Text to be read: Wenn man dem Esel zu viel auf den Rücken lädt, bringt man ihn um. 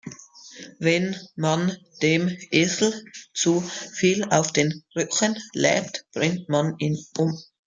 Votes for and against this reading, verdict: 2, 0, accepted